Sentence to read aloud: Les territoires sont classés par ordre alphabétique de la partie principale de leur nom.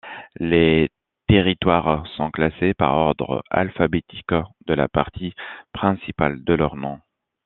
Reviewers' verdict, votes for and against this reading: accepted, 2, 0